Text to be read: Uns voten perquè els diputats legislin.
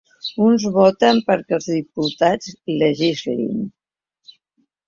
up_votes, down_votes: 1, 2